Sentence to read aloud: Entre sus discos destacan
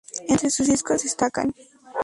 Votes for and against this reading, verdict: 0, 2, rejected